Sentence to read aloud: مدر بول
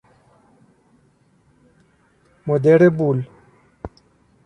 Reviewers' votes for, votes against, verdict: 1, 2, rejected